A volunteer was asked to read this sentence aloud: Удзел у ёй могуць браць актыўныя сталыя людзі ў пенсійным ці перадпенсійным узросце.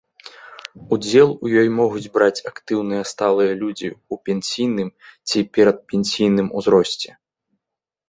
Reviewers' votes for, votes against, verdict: 2, 0, accepted